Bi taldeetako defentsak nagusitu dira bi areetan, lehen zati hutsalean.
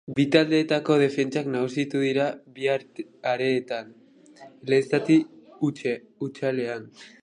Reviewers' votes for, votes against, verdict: 0, 2, rejected